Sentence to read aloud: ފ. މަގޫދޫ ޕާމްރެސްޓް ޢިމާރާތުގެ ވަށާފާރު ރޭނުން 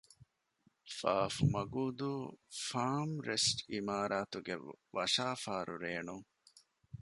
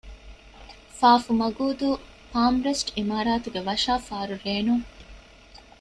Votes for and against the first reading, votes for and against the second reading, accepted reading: 0, 2, 2, 0, second